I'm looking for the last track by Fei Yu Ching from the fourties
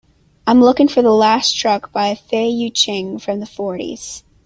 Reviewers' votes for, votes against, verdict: 2, 0, accepted